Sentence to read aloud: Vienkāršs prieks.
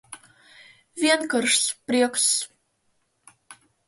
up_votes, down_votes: 0, 2